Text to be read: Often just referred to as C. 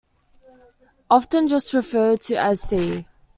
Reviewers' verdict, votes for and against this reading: accepted, 2, 0